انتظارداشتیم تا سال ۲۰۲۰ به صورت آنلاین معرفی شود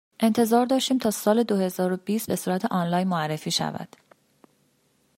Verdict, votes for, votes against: rejected, 0, 2